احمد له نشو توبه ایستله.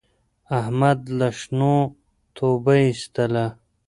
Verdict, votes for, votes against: rejected, 1, 2